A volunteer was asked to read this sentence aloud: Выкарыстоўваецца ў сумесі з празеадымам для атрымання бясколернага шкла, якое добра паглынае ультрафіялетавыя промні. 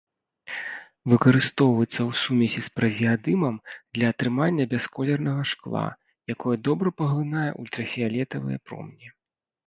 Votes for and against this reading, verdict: 2, 0, accepted